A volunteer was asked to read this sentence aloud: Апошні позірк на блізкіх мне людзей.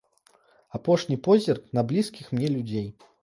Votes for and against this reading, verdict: 2, 0, accepted